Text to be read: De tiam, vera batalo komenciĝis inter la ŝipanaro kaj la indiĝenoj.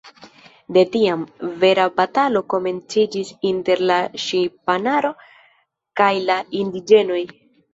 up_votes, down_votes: 0, 2